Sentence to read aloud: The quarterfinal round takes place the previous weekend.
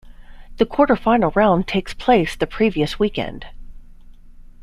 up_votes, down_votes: 2, 0